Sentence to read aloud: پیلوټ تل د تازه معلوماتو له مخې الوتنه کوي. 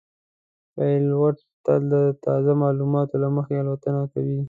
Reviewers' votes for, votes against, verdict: 2, 1, accepted